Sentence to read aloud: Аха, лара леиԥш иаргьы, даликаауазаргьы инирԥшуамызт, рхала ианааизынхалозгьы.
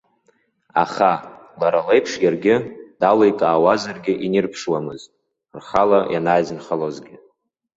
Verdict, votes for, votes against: accepted, 2, 0